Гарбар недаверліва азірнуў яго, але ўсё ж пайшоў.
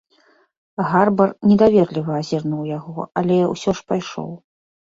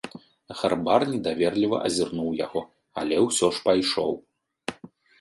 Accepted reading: second